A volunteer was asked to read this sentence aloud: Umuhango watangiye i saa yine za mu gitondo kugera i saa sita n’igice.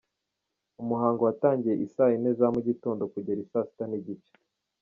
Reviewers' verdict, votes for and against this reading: accepted, 2, 0